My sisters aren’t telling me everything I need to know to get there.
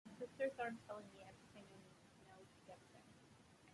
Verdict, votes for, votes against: rejected, 0, 2